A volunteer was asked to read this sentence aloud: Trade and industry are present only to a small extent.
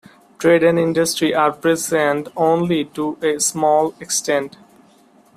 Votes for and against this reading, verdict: 2, 0, accepted